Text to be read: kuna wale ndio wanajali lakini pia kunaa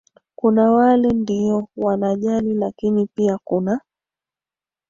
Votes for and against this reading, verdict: 2, 1, accepted